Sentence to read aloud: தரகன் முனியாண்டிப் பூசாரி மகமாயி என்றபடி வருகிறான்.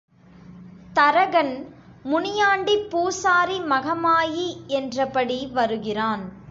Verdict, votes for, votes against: accepted, 3, 0